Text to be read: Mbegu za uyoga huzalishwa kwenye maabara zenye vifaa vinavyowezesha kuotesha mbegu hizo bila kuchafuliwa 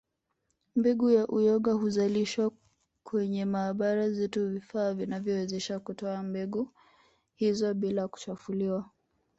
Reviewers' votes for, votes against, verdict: 1, 2, rejected